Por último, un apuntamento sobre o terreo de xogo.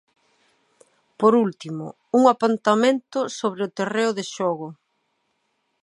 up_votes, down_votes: 2, 0